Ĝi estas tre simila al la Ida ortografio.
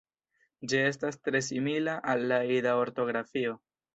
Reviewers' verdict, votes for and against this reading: accepted, 2, 0